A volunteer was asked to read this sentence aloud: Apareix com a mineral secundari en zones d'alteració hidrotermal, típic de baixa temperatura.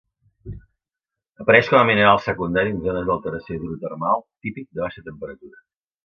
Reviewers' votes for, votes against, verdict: 2, 0, accepted